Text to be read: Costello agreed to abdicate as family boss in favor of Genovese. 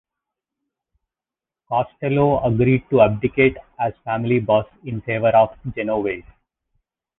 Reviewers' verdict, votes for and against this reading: accepted, 2, 0